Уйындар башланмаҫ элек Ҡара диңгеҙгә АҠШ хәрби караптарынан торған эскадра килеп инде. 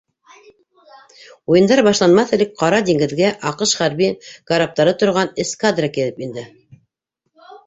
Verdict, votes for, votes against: rejected, 0, 2